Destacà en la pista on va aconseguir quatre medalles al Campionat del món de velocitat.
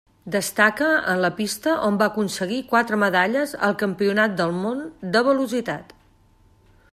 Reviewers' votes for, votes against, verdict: 1, 2, rejected